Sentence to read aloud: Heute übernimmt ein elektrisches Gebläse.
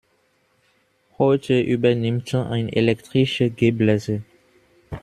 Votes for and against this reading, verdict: 1, 2, rejected